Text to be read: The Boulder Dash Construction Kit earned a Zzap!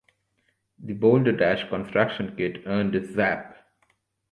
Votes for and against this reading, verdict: 2, 0, accepted